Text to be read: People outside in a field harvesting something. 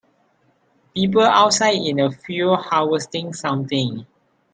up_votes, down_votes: 2, 0